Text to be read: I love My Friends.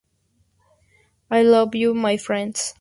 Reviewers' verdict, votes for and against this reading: rejected, 2, 2